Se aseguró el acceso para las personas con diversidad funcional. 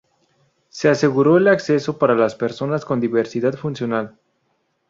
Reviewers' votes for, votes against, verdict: 2, 0, accepted